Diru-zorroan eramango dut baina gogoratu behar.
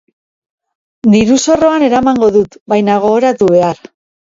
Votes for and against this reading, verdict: 2, 0, accepted